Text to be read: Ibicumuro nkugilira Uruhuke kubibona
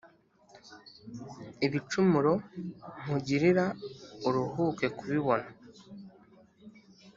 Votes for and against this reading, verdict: 3, 0, accepted